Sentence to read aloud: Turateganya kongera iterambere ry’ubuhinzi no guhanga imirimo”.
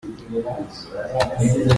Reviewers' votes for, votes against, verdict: 0, 2, rejected